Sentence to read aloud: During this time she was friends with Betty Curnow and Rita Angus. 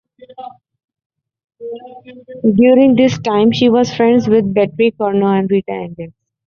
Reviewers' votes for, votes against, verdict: 2, 1, accepted